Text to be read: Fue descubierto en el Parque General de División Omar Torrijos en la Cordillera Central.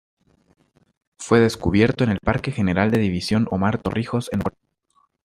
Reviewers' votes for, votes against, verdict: 0, 2, rejected